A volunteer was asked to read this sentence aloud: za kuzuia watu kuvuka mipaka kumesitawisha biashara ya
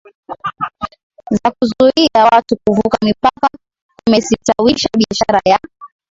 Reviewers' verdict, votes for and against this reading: rejected, 1, 2